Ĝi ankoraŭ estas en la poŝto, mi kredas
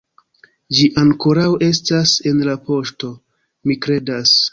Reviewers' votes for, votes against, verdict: 2, 0, accepted